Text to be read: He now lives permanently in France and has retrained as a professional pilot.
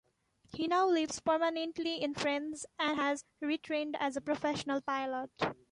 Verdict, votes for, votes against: accepted, 2, 0